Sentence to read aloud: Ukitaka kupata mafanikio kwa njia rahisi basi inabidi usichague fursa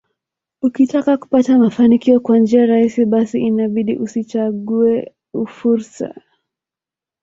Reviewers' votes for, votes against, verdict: 2, 0, accepted